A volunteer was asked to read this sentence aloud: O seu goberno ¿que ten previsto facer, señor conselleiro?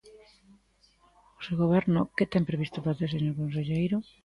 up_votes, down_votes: 2, 0